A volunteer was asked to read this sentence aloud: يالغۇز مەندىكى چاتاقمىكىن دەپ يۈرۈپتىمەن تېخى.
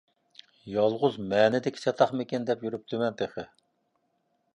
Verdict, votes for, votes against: rejected, 0, 2